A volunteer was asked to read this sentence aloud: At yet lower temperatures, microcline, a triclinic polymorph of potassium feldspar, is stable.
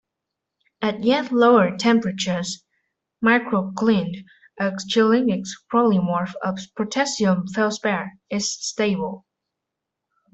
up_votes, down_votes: 0, 2